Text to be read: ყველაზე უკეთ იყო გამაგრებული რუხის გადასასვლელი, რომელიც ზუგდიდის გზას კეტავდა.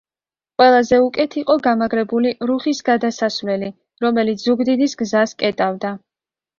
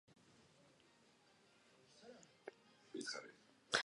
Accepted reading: first